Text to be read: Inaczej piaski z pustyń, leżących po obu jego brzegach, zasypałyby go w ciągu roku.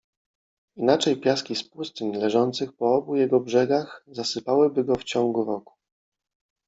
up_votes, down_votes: 2, 1